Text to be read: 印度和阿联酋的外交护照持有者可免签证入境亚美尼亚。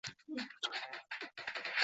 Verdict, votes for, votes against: rejected, 0, 2